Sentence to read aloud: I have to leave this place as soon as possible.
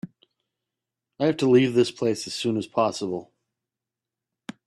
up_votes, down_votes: 2, 0